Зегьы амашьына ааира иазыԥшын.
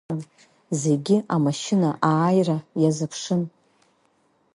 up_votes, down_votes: 5, 0